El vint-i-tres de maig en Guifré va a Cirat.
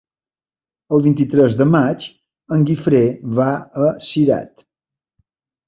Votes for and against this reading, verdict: 2, 0, accepted